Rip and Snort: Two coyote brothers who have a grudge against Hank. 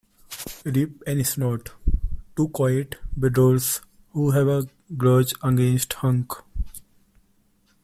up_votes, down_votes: 0, 2